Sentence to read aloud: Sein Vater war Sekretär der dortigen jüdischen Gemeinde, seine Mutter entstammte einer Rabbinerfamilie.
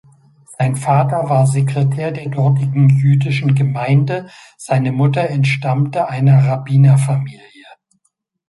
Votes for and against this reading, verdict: 2, 0, accepted